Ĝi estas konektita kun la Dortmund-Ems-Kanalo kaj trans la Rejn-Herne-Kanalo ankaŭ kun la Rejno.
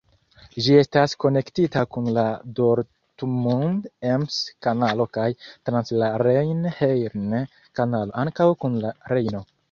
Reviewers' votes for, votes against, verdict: 2, 0, accepted